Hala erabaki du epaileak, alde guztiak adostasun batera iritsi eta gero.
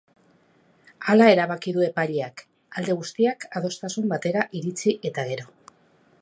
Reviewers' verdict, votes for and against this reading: accepted, 8, 0